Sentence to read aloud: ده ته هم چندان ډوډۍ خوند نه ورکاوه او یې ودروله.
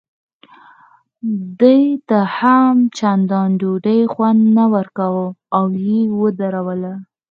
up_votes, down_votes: 4, 0